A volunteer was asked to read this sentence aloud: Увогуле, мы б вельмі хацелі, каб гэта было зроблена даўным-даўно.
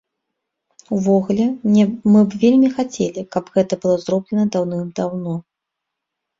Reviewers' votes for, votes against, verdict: 1, 2, rejected